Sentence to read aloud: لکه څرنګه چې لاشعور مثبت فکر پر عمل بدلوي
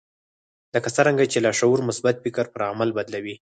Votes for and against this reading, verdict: 0, 4, rejected